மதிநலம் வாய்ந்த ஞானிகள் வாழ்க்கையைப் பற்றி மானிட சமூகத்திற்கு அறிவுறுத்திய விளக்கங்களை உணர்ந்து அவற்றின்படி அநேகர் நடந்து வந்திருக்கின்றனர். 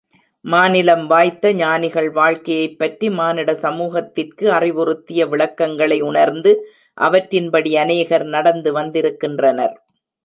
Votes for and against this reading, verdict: 0, 2, rejected